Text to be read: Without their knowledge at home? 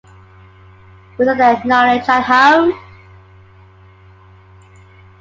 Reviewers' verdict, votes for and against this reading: accepted, 2, 1